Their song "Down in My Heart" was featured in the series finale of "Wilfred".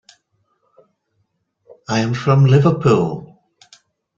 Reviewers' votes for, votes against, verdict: 0, 2, rejected